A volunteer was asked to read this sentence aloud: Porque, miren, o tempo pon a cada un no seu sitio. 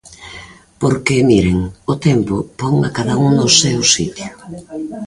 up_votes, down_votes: 1, 2